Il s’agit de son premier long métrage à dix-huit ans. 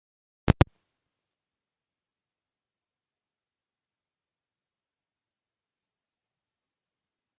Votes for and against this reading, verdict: 1, 2, rejected